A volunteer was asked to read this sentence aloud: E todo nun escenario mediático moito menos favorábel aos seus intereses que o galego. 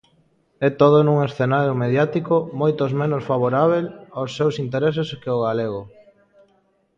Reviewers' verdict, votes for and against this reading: rejected, 0, 2